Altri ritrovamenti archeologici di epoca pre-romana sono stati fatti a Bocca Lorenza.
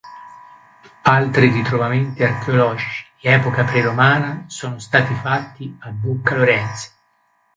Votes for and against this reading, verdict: 0, 2, rejected